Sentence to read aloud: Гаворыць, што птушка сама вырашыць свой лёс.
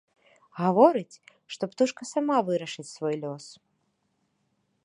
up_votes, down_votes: 2, 0